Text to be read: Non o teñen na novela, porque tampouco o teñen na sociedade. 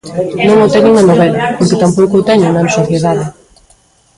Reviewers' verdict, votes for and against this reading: rejected, 1, 2